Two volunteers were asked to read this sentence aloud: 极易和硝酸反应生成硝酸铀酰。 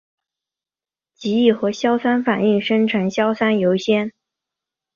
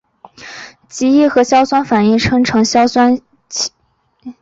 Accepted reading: first